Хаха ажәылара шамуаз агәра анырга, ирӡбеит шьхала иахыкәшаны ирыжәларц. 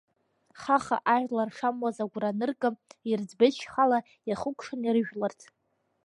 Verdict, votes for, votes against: rejected, 0, 2